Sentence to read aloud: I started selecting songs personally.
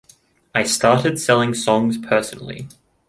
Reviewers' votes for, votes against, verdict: 0, 2, rejected